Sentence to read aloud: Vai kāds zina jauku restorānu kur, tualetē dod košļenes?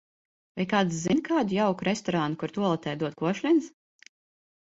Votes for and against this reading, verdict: 1, 2, rejected